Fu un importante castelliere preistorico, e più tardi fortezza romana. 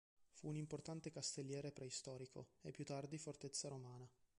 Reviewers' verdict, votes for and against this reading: rejected, 0, 2